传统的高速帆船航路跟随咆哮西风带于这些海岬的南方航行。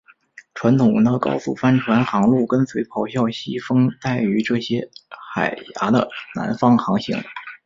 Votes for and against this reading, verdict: 1, 2, rejected